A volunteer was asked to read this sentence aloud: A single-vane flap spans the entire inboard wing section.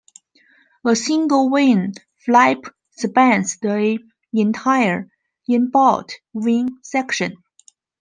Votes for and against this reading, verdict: 0, 2, rejected